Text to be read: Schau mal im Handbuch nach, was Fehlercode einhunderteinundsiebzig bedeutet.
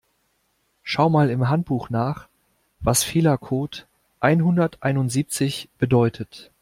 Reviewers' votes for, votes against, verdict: 2, 0, accepted